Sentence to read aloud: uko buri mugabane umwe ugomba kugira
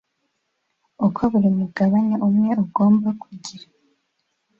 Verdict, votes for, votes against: accepted, 2, 1